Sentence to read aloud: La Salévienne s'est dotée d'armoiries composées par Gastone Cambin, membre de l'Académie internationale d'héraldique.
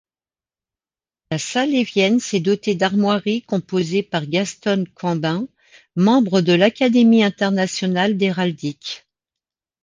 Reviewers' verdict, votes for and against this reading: accepted, 2, 1